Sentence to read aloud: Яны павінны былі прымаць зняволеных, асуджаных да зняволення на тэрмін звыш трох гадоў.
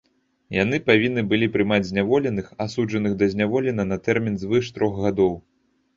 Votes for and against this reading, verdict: 1, 2, rejected